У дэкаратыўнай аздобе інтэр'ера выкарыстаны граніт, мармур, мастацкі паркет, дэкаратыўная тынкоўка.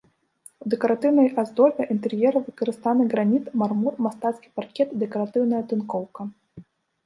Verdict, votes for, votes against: rejected, 0, 2